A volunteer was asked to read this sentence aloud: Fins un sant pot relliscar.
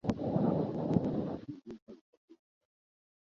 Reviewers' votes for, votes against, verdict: 0, 2, rejected